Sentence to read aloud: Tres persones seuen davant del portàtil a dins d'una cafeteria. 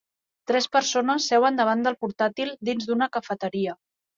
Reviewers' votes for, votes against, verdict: 2, 3, rejected